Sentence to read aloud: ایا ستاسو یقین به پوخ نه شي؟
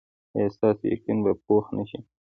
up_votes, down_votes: 1, 2